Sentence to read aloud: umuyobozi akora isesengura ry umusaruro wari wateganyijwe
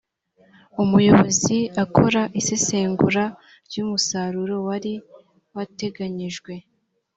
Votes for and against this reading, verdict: 2, 1, accepted